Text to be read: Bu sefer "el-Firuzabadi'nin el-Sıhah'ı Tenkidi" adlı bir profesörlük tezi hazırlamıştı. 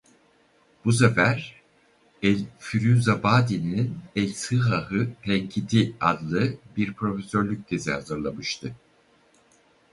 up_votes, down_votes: 2, 2